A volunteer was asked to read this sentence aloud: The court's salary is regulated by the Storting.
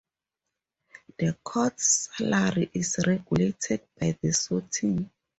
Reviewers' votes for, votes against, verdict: 0, 2, rejected